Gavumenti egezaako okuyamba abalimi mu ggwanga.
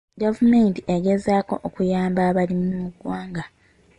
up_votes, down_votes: 2, 0